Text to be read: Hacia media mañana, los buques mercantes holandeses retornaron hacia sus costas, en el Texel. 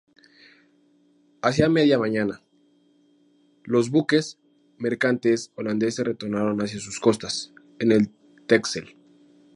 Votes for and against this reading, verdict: 2, 0, accepted